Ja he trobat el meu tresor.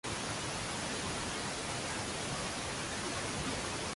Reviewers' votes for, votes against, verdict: 0, 2, rejected